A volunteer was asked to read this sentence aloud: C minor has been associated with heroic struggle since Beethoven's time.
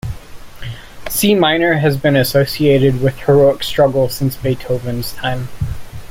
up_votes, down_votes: 2, 0